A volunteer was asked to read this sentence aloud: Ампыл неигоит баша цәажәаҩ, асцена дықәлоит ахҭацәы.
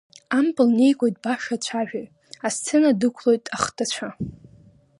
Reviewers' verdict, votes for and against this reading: rejected, 1, 2